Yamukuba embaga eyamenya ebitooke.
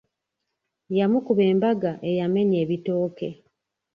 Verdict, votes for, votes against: accepted, 2, 0